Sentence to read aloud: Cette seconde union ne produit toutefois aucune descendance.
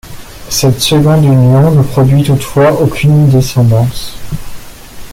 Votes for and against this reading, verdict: 2, 0, accepted